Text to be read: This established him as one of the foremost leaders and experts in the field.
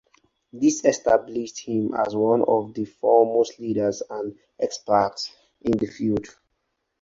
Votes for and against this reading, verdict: 4, 0, accepted